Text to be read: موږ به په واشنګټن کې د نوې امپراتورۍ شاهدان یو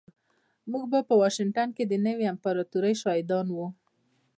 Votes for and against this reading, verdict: 2, 1, accepted